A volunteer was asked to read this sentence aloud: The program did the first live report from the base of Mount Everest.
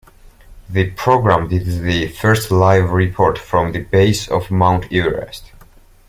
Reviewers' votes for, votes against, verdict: 2, 0, accepted